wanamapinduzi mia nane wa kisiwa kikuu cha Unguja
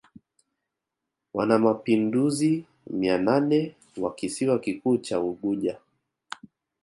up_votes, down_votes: 2, 1